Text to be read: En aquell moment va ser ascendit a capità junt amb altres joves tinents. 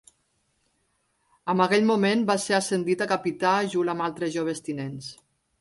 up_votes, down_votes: 2, 0